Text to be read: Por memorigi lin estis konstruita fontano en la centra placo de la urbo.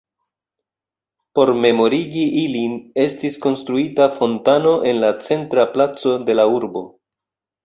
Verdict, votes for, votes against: rejected, 0, 2